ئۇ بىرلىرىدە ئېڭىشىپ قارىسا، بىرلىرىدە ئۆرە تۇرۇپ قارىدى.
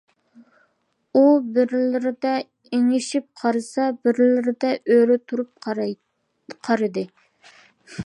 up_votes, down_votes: 0, 2